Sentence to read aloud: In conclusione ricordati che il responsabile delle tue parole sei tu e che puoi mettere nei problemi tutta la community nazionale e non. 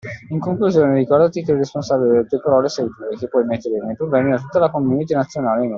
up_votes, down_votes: 2, 0